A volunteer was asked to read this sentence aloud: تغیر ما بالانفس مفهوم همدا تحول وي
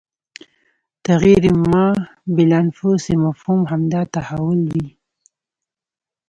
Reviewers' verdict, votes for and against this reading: accepted, 2, 0